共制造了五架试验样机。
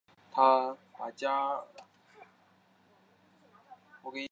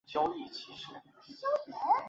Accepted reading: second